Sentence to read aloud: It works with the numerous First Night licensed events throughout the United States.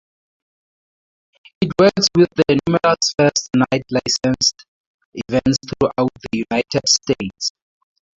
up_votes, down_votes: 0, 2